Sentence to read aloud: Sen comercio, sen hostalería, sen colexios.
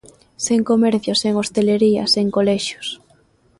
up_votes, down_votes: 0, 2